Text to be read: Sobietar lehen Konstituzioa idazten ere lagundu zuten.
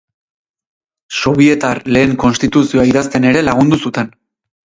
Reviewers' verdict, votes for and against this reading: accepted, 4, 2